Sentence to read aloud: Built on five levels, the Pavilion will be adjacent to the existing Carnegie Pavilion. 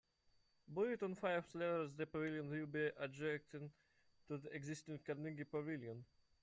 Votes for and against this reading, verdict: 0, 2, rejected